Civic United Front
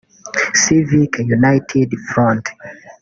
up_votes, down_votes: 2, 3